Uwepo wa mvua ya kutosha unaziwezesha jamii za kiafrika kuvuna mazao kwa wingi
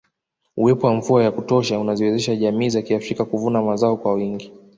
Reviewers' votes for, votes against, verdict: 2, 0, accepted